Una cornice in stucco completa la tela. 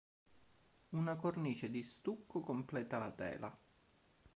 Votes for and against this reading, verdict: 1, 2, rejected